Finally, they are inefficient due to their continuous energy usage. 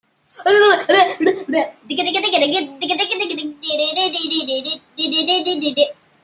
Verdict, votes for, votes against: rejected, 0, 2